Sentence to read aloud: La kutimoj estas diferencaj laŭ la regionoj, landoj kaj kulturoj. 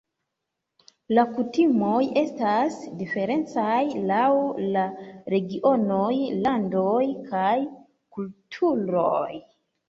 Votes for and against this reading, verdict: 2, 1, accepted